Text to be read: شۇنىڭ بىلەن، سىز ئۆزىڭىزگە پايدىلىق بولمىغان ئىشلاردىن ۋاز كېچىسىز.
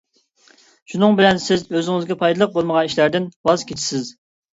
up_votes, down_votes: 2, 0